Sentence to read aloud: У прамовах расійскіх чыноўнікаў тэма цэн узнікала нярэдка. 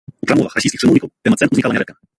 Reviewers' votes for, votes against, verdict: 0, 2, rejected